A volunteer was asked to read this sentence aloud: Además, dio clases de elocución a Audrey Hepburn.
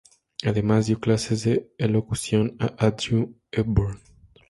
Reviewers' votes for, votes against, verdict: 2, 0, accepted